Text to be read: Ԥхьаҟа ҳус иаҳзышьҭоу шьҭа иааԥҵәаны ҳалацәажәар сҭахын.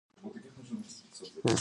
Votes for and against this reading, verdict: 0, 2, rejected